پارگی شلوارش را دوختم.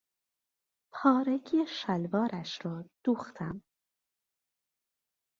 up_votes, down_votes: 2, 0